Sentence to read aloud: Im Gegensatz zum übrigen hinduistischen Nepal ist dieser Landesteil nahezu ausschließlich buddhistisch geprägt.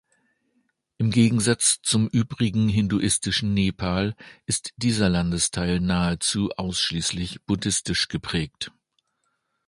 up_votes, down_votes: 2, 0